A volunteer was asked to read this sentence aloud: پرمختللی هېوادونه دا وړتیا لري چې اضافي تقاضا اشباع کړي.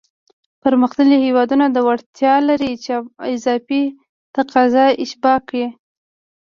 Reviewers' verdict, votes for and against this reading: rejected, 1, 2